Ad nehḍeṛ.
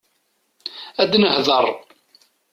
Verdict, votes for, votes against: rejected, 1, 2